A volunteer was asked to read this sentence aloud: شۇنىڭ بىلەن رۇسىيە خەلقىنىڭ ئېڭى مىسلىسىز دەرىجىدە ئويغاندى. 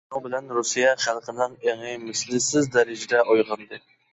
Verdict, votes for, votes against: rejected, 1, 2